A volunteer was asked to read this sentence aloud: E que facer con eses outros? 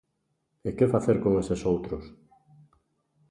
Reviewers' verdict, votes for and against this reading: accepted, 2, 0